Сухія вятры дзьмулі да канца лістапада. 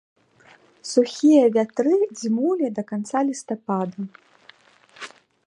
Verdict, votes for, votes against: accepted, 2, 0